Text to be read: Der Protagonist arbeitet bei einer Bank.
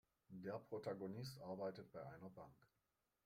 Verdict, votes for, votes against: rejected, 1, 2